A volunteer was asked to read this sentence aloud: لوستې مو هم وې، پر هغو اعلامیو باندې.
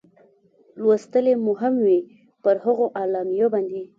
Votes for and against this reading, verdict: 1, 2, rejected